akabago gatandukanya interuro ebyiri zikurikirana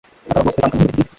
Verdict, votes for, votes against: rejected, 1, 2